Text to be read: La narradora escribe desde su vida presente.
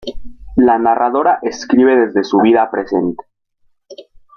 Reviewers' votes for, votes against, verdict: 3, 0, accepted